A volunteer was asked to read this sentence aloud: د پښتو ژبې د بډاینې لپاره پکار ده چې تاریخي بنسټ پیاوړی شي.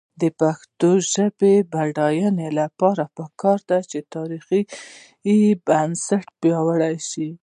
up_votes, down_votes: 1, 2